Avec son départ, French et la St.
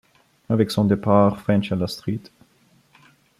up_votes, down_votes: 2, 1